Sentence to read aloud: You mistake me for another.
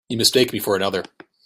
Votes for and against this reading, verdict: 2, 0, accepted